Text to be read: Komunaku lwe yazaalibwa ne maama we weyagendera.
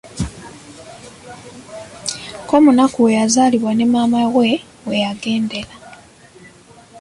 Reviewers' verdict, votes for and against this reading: rejected, 0, 2